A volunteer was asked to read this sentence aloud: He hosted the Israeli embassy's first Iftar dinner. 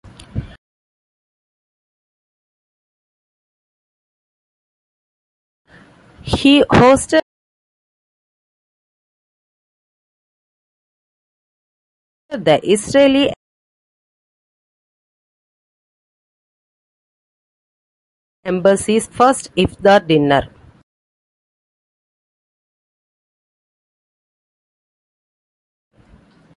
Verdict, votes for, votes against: rejected, 0, 2